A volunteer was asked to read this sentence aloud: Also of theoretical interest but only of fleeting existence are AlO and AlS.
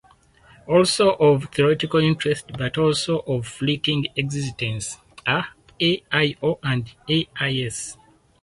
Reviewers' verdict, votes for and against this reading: rejected, 0, 4